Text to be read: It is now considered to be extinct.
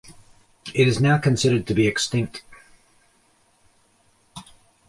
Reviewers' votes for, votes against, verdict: 2, 1, accepted